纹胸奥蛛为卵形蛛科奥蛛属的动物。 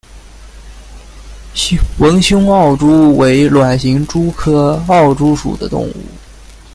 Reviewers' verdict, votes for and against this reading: rejected, 0, 2